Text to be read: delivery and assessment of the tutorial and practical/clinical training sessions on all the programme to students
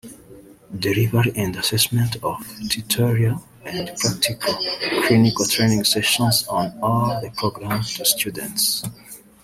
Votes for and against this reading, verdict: 1, 2, rejected